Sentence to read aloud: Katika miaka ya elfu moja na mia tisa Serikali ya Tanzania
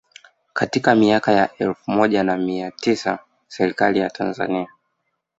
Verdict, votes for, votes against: accepted, 2, 0